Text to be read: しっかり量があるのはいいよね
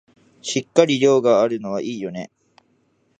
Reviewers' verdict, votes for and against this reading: accepted, 2, 0